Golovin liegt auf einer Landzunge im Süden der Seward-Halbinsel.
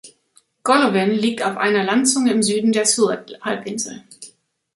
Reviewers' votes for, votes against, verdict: 1, 2, rejected